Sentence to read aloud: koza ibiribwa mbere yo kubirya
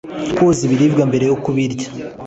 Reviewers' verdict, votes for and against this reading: accepted, 2, 0